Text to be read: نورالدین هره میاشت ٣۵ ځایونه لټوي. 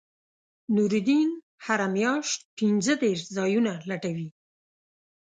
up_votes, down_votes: 0, 2